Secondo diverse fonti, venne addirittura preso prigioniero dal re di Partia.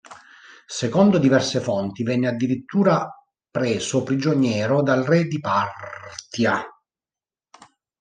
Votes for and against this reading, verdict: 0, 2, rejected